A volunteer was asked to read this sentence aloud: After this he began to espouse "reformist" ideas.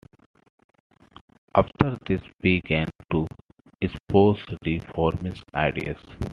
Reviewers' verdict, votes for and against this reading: accepted, 2, 0